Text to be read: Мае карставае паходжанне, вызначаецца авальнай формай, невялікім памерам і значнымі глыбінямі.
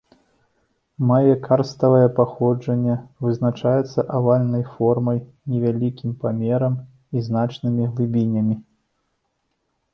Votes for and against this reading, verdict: 2, 0, accepted